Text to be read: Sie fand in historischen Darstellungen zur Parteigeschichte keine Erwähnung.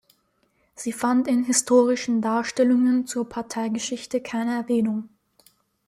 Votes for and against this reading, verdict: 2, 0, accepted